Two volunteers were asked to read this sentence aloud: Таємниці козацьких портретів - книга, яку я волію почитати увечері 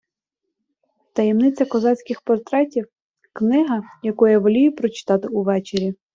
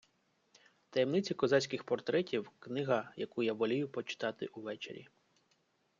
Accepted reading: second